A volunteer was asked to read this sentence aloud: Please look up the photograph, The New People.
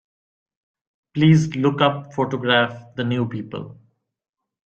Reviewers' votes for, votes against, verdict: 0, 2, rejected